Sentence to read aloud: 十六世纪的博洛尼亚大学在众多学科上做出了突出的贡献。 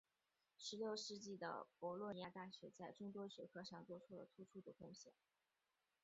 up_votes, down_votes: 0, 3